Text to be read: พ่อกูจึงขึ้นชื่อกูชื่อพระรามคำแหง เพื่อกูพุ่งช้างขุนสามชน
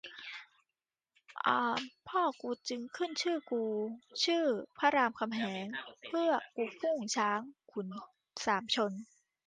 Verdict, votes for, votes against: rejected, 1, 2